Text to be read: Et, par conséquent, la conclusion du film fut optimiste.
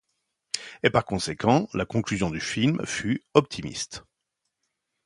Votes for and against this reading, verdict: 2, 0, accepted